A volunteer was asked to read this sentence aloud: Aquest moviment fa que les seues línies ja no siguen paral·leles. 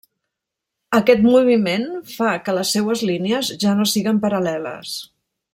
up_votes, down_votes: 1, 2